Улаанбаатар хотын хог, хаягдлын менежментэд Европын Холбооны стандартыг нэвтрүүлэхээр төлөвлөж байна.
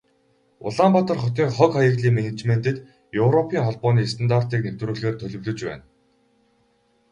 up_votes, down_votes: 0, 2